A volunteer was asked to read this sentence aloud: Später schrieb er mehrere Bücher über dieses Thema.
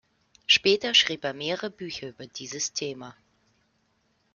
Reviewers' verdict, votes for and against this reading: rejected, 0, 2